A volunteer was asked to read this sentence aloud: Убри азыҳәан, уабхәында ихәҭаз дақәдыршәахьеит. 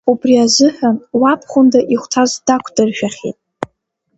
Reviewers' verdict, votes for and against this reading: accepted, 2, 0